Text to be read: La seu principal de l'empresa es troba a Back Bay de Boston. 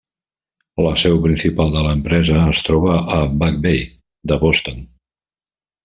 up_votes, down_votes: 2, 0